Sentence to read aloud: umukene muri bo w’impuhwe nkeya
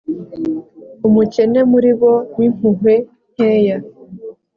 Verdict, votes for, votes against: accepted, 2, 0